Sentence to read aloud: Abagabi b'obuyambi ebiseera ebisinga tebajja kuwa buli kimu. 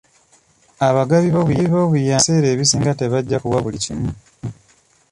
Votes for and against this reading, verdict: 0, 2, rejected